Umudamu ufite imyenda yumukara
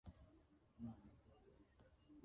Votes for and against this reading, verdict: 0, 2, rejected